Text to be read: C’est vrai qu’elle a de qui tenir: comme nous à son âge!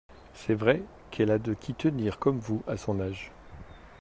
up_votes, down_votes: 0, 2